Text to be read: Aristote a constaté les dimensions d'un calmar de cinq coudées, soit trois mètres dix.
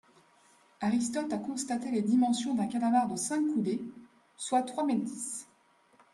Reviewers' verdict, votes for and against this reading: accepted, 2, 0